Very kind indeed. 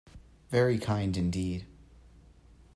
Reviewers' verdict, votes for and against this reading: accepted, 2, 0